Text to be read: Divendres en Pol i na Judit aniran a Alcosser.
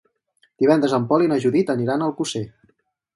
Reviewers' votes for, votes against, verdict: 2, 2, rejected